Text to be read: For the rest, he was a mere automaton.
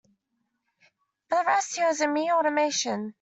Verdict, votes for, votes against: rejected, 0, 2